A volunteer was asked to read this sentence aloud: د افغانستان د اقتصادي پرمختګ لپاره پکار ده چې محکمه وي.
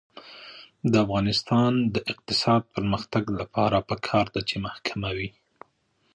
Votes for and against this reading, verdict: 0, 2, rejected